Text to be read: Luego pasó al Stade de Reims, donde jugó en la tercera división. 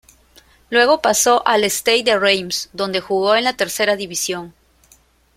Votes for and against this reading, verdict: 1, 2, rejected